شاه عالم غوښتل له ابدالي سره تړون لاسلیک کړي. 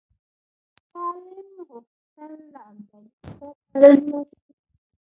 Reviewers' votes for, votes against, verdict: 1, 2, rejected